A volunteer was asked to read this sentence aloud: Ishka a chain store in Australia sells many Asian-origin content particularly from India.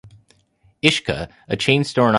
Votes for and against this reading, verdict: 0, 2, rejected